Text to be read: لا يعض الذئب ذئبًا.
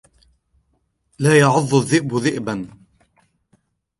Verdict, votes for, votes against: accepted, 2, 0